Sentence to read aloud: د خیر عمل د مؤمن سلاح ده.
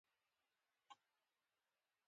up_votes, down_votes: 1, 2